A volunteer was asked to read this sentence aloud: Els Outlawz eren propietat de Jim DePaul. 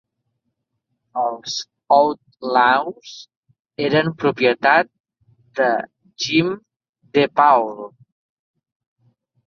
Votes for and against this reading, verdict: 1, 2, rejected